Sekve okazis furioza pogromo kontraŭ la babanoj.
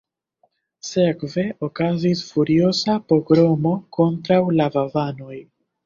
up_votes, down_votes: 0, 2